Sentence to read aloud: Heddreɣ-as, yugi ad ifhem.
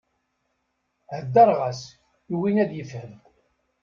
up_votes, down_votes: 2, 0